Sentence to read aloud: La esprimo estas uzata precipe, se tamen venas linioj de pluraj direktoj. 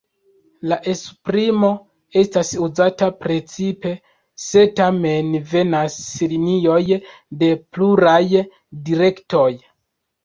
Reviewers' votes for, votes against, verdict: 2, 0, accepted